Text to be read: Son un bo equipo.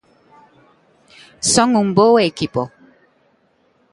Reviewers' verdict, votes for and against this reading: rejected, 1, 2